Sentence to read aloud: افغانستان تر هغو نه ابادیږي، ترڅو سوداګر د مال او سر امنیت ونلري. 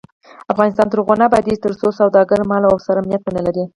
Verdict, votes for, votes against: accepted, 4, 0